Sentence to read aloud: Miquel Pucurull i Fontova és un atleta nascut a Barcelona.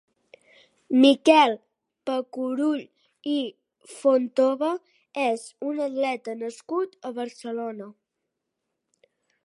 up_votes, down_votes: 0, 2